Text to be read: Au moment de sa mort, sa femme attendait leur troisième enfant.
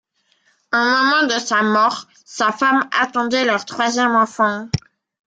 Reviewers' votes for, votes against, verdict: 1, 2, rejected